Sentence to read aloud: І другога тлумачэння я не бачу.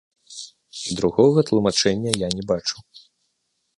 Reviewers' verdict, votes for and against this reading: rejected, 1, 2